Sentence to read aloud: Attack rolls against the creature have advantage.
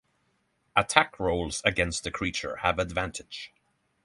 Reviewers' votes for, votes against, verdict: 3, 3, rejected